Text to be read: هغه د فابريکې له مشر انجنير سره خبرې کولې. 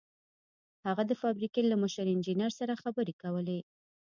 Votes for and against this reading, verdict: 0, 2, rejected